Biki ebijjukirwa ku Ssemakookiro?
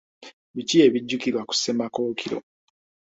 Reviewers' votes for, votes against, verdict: 2, 0, accepted